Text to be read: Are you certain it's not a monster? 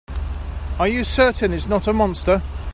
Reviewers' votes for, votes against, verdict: 2, 0, accepted